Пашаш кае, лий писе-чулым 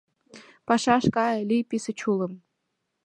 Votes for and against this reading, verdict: 2, 1, accepted